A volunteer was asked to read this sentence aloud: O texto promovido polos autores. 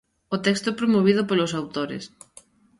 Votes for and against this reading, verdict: 2, 0, accepted